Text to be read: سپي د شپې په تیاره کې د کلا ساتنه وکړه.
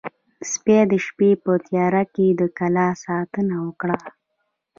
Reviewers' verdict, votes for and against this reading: accepted, 2, 1